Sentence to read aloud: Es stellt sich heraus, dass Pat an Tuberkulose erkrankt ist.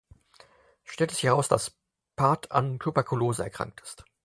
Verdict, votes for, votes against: rejected, 2, 4